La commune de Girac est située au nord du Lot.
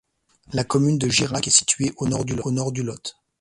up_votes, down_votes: 1, 2